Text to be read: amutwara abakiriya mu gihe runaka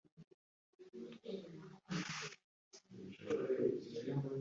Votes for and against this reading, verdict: 0, 2, rejected